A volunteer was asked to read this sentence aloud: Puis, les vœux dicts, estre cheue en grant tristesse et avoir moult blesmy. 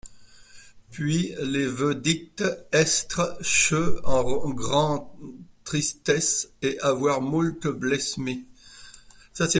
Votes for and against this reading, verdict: 0, 2, rejected